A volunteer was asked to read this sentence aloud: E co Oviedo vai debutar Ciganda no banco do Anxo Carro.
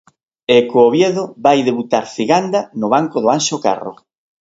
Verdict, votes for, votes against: accepted, 3, 0